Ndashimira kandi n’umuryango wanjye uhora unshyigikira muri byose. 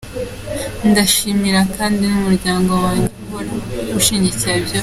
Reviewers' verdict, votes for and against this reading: rejected, 0, 2